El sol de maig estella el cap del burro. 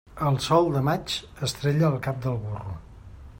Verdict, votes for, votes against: rejected, 1, 2